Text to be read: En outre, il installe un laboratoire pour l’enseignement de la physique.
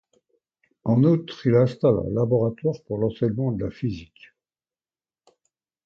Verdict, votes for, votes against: accepted, 2, 0